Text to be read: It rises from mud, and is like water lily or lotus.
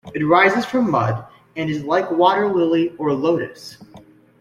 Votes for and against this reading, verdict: 2, 0, accepted